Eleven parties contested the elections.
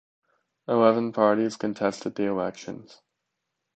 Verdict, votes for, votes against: rejected, 1, 2